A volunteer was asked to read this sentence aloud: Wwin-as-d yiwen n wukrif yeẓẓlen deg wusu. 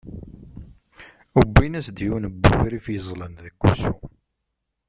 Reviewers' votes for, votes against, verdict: 0, 2, rejected